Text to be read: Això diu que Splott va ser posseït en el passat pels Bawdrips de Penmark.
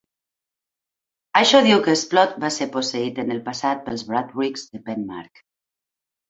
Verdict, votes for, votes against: accepted, 2, 0